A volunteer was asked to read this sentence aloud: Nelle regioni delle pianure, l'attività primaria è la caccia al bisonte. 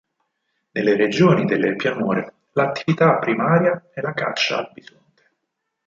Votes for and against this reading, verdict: 0, 4, rejected